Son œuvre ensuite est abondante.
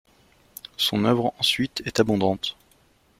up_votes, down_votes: 2, 0